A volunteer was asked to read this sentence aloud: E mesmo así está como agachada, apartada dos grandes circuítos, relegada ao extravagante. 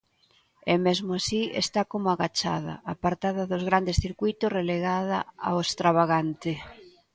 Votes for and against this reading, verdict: 2, 0, accepted